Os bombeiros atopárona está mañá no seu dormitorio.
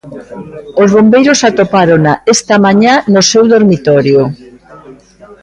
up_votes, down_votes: 1, 2